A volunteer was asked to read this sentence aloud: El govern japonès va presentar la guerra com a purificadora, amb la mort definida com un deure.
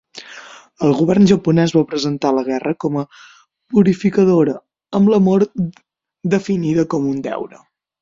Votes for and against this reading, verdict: 0, 6, rejected